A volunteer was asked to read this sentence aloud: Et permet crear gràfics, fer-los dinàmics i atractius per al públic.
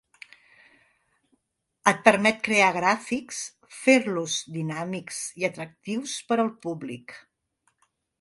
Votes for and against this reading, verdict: 2, 0, accepted